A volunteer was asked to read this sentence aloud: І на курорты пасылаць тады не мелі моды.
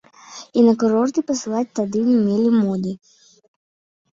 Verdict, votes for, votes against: accepted, 2, 0